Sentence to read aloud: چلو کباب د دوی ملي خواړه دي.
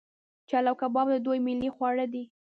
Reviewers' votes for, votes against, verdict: 1, 2, rejected